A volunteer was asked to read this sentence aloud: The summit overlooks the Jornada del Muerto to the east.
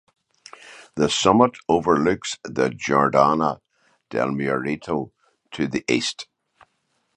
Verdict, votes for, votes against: rejected, 0, 2